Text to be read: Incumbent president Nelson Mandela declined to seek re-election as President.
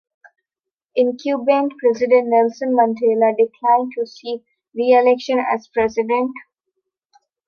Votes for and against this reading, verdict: 1, 2, rejected